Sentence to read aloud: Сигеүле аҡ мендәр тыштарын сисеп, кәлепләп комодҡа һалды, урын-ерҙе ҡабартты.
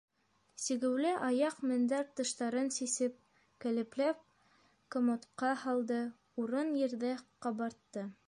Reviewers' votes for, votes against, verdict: 0, 2, rejected